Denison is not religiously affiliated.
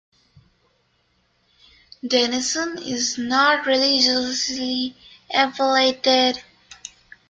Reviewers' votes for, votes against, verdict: 0, 2, rejected